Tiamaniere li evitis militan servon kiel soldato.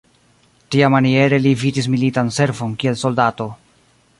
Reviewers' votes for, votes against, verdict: 1, 2, rejected